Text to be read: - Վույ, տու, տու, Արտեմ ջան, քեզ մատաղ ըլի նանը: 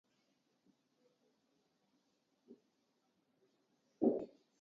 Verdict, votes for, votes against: rejected, 0, 2